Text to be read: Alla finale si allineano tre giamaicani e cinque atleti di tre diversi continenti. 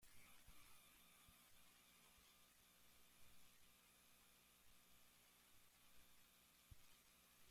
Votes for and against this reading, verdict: 0, 2, rejected